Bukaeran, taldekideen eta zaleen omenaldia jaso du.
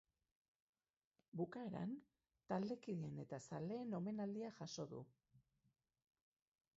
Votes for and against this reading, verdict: 2, 2, rejected